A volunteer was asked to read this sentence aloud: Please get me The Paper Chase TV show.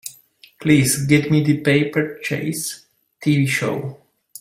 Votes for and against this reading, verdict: 2, 0, accepted